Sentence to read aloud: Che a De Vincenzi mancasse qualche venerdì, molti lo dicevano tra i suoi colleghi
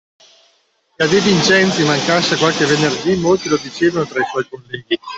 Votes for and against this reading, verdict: 1, 2, rejected